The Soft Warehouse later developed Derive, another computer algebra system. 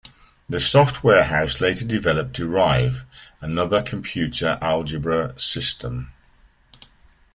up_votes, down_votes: 2, 0